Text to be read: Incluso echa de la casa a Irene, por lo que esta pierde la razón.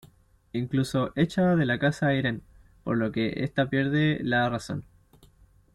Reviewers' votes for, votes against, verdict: 1, 2, rejected